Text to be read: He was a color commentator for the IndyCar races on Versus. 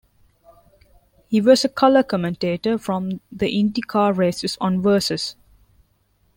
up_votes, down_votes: 0, 3